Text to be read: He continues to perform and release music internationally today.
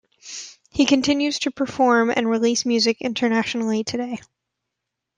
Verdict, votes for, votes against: accepted, 2, 0